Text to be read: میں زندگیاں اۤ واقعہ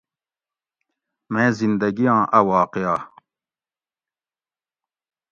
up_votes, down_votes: 2, 0